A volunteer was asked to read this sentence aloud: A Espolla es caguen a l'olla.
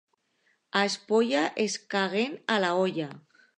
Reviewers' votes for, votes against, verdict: 1, 2, rejected